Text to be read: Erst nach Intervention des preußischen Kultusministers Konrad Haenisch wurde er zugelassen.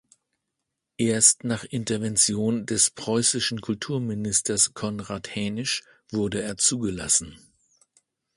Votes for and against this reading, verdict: 1, 2, rejected